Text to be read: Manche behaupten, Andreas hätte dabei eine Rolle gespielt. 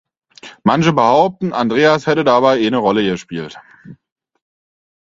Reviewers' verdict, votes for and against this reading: rejected, 2, 4